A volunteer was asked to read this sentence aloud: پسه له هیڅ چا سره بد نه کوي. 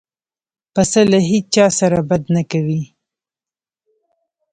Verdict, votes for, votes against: rejected, 0, 2